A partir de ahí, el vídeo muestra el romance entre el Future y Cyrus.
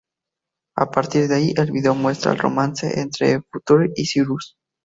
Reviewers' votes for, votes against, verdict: 4, 0, accepted